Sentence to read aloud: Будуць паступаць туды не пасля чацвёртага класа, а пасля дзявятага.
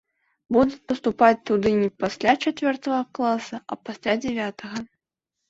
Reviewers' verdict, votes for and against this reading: accepted, 2, 0